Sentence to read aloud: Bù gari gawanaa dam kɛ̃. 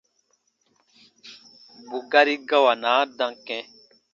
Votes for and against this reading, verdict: 2, 0, accepted